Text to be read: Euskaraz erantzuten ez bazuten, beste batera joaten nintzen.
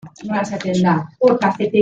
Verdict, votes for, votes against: rejected, 0, 2